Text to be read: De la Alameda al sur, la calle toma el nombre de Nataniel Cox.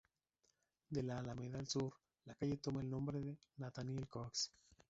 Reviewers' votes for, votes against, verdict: 0, 2, rejected